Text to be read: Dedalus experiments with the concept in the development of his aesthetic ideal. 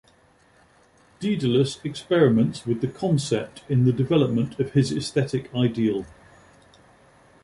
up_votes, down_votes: 2, 0